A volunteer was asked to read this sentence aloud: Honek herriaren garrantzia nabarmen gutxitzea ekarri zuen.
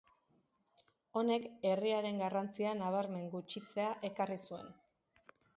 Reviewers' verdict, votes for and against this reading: accepted, 2, 0